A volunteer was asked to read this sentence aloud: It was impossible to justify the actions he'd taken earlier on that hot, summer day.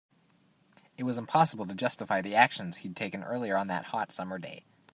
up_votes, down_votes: 2, 0